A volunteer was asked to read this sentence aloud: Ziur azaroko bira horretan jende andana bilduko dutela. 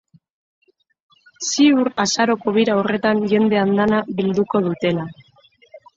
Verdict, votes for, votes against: rejected, 1, 2